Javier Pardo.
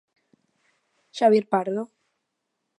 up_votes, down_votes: 0, 2